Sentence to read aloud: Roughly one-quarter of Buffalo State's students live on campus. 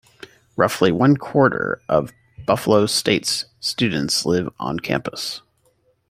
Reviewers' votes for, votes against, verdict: 2, 0, accepted